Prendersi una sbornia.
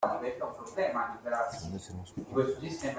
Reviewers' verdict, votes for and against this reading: rejected, 0, 2